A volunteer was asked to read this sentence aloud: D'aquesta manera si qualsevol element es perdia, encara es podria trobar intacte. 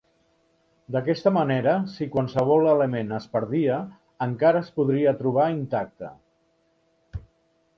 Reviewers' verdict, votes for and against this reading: rejected, 0, 2